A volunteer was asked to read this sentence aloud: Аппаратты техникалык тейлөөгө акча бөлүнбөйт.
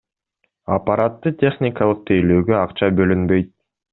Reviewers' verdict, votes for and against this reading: accepted, 2, 0